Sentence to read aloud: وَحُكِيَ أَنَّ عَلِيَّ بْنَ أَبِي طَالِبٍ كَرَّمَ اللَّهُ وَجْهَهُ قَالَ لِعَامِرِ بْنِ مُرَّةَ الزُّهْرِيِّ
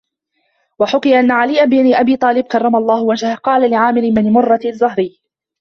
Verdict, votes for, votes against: accepted, 2, 1